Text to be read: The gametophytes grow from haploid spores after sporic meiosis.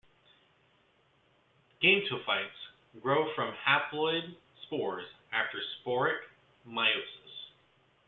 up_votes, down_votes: 0, 2